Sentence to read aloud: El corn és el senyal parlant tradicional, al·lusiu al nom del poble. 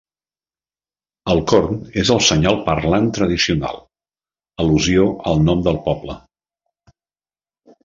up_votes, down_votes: 1, 2